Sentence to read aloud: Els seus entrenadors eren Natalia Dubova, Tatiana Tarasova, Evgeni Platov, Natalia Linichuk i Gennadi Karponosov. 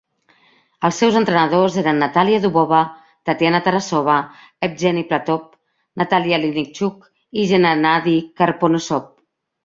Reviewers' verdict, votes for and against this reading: accepted, 2, 0